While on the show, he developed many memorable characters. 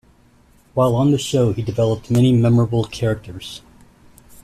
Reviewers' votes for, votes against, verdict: 2, 0, accepted